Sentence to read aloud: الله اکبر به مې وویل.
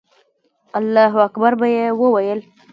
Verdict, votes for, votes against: rejected, 1, 2